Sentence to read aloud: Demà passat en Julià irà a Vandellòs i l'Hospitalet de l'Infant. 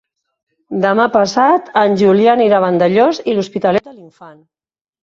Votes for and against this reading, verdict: 0, 2, rejected